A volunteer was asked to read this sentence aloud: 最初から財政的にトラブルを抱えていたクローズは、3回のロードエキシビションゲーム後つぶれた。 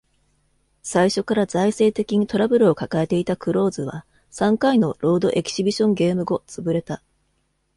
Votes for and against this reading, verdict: 0, 2, rejected